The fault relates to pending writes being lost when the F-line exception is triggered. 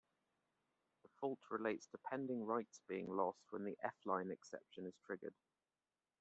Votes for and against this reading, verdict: 2, 0, accepted